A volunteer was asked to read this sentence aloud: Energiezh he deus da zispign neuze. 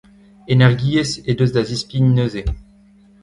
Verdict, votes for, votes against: rejected, 0, 2